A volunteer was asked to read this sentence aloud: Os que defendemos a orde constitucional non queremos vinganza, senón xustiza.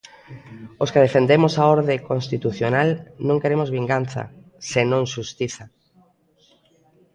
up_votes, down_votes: 2, 1